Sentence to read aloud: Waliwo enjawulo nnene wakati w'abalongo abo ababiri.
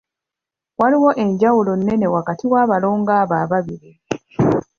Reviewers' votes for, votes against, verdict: 2, 0, accepted